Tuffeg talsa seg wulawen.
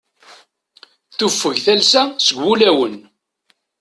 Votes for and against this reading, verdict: 2, 1, accepted